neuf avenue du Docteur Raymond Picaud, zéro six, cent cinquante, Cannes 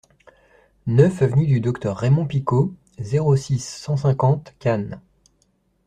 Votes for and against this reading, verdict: 2, 0, accepted